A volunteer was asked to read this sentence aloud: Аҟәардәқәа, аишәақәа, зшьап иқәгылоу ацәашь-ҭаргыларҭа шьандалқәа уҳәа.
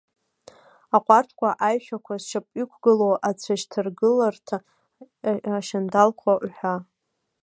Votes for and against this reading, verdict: 1, 2, rejected